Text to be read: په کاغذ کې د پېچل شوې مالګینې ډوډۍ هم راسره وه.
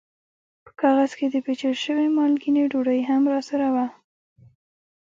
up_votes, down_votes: 1, 2